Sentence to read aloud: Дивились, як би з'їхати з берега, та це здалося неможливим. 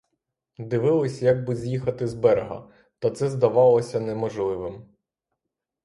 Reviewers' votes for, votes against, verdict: 0, 3, rejected